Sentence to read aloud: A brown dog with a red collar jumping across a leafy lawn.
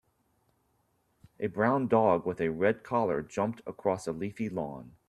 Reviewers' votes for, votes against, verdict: 0, 2, rejected